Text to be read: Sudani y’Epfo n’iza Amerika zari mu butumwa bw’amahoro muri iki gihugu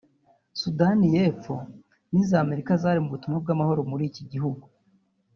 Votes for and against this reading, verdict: 0, 2, rejected